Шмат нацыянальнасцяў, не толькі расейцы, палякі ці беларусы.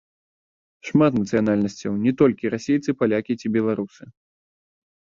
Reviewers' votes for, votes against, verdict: 0, 2, rejected